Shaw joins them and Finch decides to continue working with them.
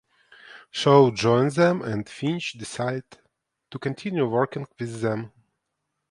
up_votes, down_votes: 0, 2